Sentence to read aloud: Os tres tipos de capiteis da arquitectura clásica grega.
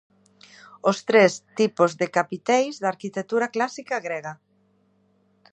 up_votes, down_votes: 2, 0